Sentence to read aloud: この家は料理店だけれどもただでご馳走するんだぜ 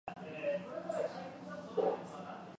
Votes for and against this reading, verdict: 0, 2, rejected